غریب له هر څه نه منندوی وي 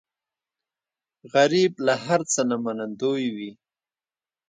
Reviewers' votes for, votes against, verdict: 2, 0, accepted